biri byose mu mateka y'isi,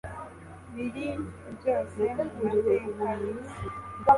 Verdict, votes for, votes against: rejected, 0, 2